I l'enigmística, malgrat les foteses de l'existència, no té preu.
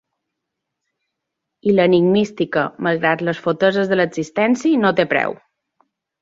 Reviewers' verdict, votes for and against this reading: accepted, 2, 1